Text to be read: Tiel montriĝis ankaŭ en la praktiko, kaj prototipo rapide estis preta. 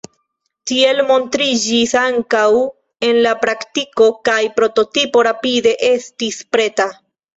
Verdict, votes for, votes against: rejected, 1, 2